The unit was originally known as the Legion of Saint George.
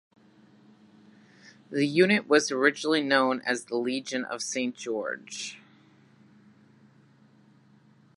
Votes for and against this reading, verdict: 3, 0, accepted